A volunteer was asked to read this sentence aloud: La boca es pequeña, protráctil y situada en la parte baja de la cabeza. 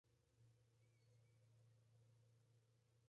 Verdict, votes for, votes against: rejected, 0, 2